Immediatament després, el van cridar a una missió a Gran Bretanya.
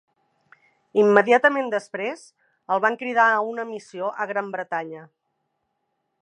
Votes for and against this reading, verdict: 3, 0, accepted